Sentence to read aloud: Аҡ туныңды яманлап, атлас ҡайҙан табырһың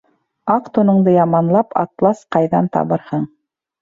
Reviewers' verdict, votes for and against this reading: accepted, 2, 1